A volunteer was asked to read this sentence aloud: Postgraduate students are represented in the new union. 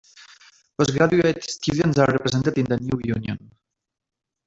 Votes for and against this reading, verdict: 0, 2, rejected